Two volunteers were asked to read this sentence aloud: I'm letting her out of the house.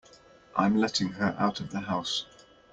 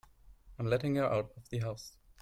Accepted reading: first